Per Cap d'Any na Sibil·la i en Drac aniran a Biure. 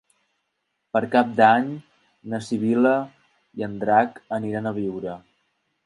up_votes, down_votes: 3, 0